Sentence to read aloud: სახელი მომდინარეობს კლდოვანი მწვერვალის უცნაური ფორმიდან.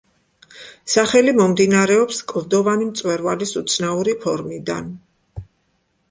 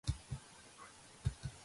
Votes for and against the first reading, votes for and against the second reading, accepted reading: 2, 0, 0, 2, first